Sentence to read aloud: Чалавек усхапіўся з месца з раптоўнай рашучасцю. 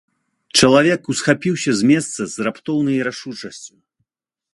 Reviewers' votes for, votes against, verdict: 2, 0, accepted